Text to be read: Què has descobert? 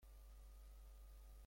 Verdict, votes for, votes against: rejected, 0, 2